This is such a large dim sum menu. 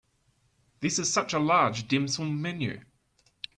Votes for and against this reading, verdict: 2, 0, accepted